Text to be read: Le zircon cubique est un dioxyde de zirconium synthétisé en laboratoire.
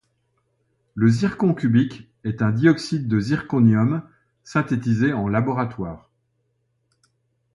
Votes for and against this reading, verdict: 2, 0, accepted